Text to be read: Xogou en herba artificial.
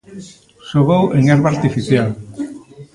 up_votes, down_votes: 2, 0